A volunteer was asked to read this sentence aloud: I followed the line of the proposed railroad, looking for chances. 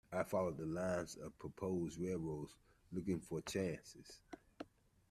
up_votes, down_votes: 1, 2